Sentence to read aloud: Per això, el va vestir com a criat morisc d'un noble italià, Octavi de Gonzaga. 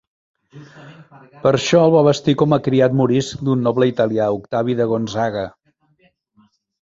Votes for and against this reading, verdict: 2, 0, accepted